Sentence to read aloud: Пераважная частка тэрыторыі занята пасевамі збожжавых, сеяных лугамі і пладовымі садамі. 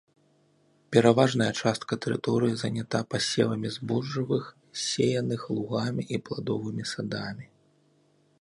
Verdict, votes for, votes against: accepted, 3, 0